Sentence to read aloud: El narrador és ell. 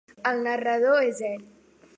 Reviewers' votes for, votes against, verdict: 2, 0, accepted